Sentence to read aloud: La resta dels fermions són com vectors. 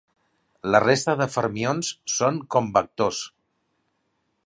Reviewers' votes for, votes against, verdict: 1, 2, rejected